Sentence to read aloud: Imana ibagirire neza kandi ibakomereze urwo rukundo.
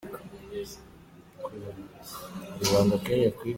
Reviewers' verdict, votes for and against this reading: rejected, 0, 2